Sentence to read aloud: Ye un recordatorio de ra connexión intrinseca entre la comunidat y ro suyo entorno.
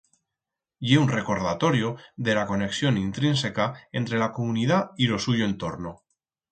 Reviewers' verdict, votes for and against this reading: rejected, 2, 4